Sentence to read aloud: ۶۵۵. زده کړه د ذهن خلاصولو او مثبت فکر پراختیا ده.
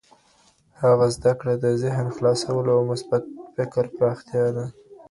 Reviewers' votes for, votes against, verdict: 0, 2, rejected